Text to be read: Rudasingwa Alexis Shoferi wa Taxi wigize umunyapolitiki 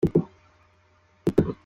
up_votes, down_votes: 0, 2